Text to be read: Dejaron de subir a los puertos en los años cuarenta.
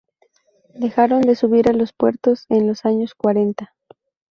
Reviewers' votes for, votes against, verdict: 2, 0, accepted